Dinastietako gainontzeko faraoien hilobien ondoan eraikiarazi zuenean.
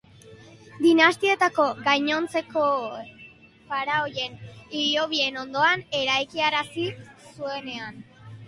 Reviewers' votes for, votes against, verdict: 0, 2, rejected